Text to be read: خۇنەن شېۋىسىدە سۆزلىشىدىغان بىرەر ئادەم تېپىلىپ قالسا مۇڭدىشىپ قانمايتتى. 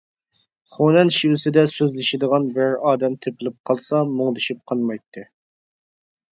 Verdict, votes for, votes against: accepted, 2, 0